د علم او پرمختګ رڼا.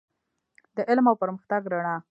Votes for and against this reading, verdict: 1, 2, rejected